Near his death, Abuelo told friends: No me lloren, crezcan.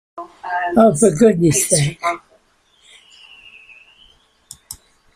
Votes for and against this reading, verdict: 0, 2, rejected